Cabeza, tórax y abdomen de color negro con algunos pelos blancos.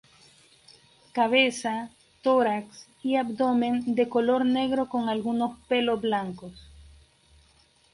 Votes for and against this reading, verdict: 0, 2, rejected